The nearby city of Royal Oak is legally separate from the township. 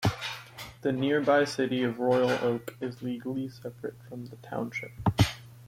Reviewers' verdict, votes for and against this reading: rejected, 1, 2